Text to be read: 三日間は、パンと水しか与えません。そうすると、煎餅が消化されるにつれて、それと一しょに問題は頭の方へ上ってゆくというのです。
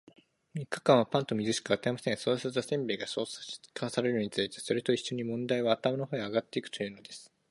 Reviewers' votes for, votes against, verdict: 1, 2, rejected